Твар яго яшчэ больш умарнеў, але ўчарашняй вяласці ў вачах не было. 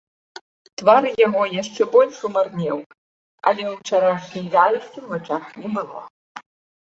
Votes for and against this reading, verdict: 2, 1, accepted